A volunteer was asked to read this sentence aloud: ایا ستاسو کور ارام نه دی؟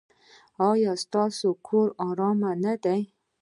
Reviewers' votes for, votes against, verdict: 2, 0, accepted